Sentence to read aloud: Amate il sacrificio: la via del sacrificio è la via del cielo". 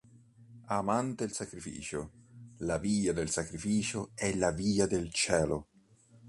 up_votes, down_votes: 1, 3